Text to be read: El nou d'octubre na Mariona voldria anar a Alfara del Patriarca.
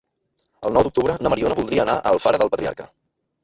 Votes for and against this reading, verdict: 1, 2, rejected